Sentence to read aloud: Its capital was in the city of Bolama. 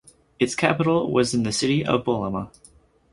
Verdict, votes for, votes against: accepted, 4, 0